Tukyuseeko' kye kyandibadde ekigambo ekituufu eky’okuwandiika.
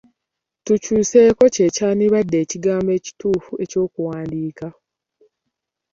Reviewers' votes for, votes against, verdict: 1, 2, rejected